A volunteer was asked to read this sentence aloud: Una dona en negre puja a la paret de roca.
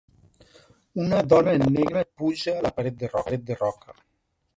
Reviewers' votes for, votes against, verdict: 0, 2, rejected